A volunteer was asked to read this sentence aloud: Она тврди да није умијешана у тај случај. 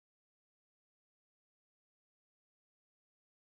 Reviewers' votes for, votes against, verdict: 0, 2, rejected